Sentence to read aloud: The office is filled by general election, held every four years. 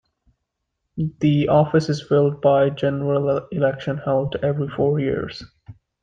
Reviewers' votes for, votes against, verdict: 0, 2, rejected